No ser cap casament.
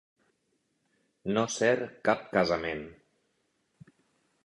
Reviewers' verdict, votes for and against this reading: accepted, 2, 0